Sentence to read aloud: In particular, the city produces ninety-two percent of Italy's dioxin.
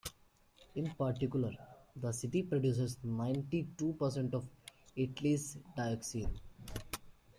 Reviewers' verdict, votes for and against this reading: rejected, 1, 2